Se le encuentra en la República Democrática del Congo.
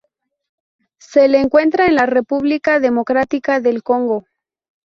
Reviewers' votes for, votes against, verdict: 0, 2, rejected